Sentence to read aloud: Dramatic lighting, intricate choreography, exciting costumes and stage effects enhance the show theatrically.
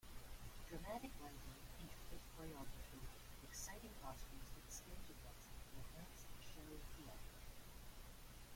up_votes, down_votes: 1, 3